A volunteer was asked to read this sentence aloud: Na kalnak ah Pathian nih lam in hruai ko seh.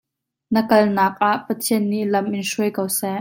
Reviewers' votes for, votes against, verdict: 2, 0, accepted